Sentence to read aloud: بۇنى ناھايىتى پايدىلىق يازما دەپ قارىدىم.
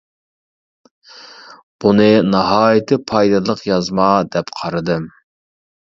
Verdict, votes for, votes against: accepted, 2, 0